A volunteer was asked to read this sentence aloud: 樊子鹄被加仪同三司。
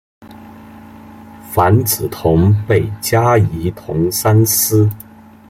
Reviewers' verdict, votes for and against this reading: rejected, 0, 2